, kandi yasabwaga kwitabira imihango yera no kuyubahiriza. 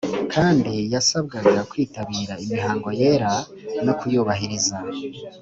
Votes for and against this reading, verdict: 2, 0, accepted